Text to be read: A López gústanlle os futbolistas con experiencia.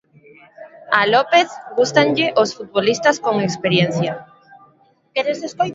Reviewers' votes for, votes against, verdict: 0, 2, rejected